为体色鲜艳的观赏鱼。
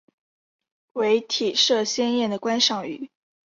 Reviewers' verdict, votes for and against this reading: accepted, 3, 0